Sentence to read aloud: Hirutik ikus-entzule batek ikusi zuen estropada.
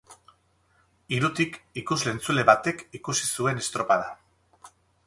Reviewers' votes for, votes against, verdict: 2, 0, accepted